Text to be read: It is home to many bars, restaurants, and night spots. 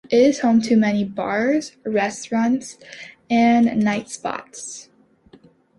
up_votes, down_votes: 3, 0